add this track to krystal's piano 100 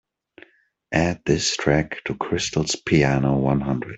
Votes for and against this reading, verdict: 0, 2, rejected